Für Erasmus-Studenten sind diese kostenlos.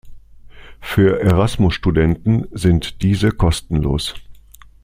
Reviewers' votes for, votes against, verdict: 2, 0, accepted